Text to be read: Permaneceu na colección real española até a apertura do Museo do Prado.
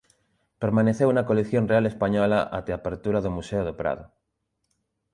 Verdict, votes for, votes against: rejected, 0, 2